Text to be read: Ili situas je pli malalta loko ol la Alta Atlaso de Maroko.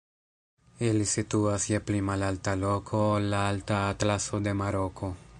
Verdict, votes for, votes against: accepted, 2, 0